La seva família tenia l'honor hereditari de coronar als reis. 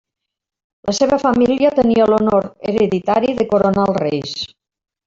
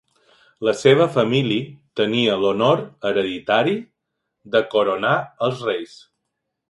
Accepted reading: first